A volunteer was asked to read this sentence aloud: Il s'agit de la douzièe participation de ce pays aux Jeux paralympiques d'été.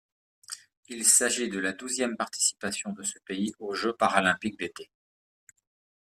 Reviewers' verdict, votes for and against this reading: rejected, 1, 2